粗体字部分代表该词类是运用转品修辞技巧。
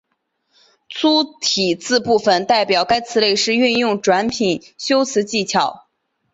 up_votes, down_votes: 2, 0